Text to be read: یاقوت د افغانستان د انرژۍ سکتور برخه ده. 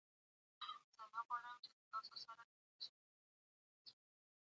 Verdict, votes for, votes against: rejected, 1, 2